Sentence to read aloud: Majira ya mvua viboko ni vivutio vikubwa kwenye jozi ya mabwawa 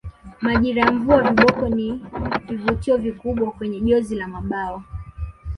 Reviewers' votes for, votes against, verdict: 0, 2, rejected